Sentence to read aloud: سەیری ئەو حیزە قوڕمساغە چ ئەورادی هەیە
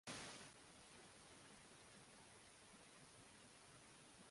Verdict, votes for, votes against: rejected, 0, 2